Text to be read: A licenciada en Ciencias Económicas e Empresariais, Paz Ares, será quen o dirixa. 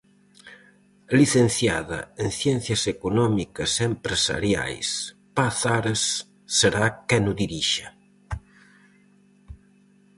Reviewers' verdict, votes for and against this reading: accepted, 4, 0